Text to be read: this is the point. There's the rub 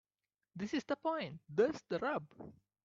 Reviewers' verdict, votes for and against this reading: accepted, 2, 0